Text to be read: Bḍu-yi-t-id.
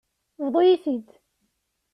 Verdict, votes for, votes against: accepted, 2, 0